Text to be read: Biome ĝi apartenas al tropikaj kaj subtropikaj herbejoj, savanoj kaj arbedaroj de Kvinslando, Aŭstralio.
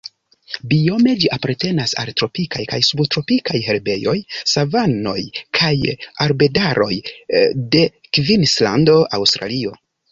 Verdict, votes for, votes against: accepted, 2, 0